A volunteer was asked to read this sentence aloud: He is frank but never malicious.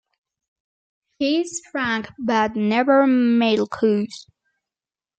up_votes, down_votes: 0, 2